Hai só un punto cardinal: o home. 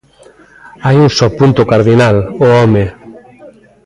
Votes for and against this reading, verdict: 1, 2, rejected